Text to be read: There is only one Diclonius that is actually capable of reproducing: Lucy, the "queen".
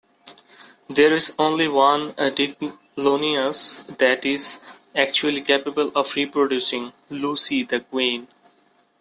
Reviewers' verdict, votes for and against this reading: accepted, 2, 1